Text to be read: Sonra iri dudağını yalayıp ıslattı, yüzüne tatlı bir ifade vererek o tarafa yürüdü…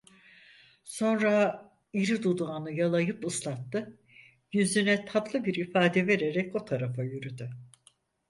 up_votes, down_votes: 4, 0